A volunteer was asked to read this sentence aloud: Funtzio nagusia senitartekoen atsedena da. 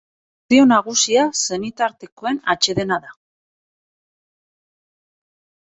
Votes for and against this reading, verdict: 0, 2, rejected